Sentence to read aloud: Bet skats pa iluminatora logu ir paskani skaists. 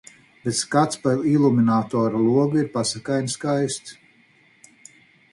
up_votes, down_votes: 2, 4